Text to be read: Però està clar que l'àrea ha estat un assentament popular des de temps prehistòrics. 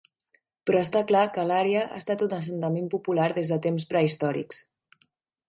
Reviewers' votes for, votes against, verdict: 2, 0, accepted